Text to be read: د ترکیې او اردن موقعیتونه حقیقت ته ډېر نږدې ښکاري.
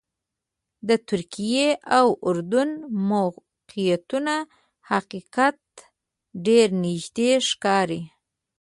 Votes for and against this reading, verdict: 1, 3, rejected